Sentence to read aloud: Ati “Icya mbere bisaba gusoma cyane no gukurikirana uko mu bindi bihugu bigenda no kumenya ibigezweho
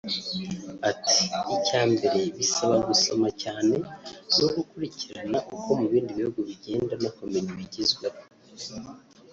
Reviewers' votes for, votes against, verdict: 1, 2, rejected